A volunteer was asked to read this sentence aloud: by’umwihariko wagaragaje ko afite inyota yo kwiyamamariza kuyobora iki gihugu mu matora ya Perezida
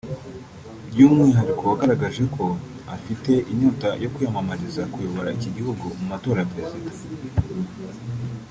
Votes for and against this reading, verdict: 0, 2, rejected